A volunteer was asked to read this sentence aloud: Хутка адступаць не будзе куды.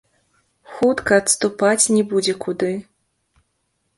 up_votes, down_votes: 0, 2